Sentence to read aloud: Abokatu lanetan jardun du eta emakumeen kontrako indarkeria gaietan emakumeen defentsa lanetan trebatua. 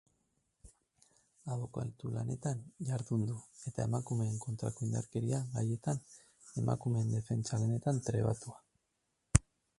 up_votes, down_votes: 2, 0